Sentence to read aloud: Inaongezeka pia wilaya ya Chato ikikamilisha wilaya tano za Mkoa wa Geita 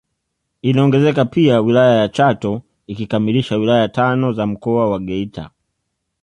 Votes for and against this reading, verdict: 2, 0, accepted